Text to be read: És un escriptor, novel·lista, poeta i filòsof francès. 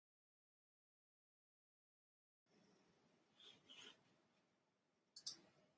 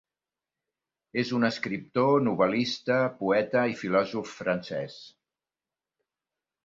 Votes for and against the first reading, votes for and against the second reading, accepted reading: 0, 5, 5, 0, second